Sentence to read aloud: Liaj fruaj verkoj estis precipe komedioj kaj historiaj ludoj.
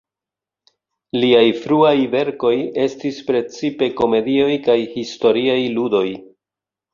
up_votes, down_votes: 1, 2